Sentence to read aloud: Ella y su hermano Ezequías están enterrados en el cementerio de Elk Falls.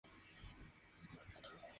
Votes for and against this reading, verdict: 0, 2, rejected